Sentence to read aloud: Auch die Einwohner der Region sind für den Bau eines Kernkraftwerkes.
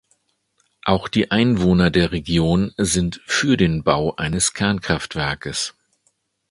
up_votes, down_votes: 2, 0